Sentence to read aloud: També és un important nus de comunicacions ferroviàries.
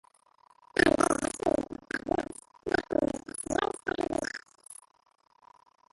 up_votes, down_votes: 0, 2